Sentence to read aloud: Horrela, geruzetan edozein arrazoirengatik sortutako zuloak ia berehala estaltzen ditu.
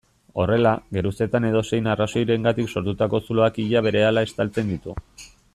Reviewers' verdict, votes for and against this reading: accepted, 2, 0